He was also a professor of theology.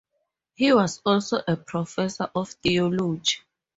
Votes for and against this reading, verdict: 4, 2, accepted